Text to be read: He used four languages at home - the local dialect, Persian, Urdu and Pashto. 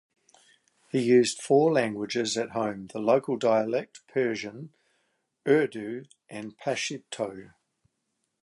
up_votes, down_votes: 1, 2